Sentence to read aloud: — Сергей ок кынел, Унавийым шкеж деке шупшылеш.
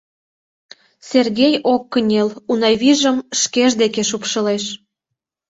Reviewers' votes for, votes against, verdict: 0, 2, rejected